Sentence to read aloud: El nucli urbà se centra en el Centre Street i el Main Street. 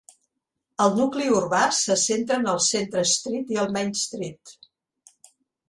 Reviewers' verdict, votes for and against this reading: accepted, 2, 0